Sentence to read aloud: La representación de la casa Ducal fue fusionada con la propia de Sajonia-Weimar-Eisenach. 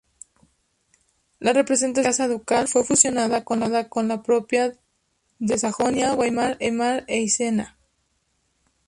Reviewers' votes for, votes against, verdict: 0, 2, rejected